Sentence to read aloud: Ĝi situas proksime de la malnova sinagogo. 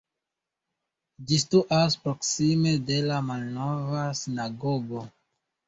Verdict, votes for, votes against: accepted, 2, 1